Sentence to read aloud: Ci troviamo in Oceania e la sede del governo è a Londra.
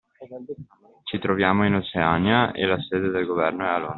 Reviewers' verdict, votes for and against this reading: rejected, 0, 2